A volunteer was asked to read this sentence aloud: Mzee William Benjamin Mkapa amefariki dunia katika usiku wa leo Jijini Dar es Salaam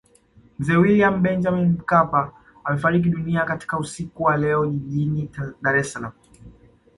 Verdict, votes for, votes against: accepted, 2, 0